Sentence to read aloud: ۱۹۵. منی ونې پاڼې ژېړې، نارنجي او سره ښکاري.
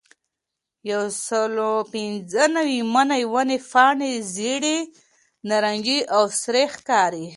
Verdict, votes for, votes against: rejected, 0, 2